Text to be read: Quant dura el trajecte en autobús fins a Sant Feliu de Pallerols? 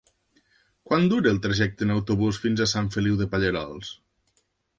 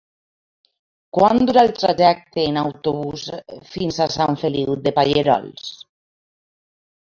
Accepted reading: first